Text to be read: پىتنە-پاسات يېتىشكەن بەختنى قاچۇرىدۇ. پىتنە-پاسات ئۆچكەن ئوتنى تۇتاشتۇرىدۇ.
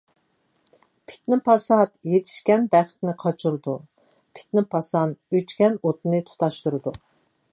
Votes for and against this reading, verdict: 0, 2, rejected